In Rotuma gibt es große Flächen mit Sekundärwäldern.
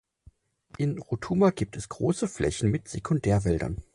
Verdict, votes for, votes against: accepted, 4, 0